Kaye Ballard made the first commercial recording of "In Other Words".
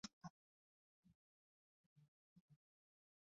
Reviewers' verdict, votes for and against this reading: rejected, 0, 3